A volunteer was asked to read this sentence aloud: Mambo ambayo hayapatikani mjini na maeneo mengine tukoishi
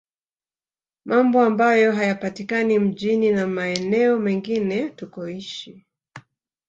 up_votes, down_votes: 1, 2